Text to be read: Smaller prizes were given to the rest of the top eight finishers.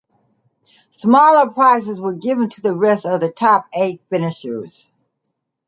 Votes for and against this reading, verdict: 2, 0, accepted